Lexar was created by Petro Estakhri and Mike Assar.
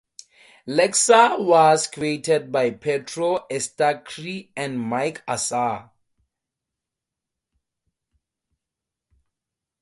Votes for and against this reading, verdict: 2, 0, accepted